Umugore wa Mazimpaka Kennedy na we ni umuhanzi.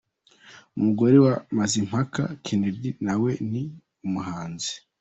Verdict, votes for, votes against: rejected, 1, 2